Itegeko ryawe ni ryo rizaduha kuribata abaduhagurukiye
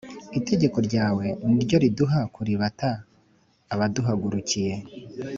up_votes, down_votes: 2, 0